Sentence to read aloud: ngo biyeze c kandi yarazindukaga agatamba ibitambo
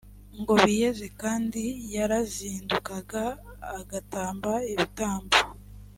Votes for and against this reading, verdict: 2, 0, accepted